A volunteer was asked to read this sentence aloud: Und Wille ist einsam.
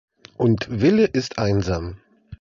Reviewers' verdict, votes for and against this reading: accepted, 2, 0